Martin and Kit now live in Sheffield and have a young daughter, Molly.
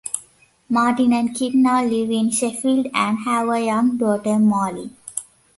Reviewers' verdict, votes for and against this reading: accepted, 2, 1